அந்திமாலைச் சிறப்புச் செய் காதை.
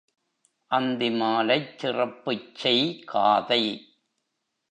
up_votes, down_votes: 2, 0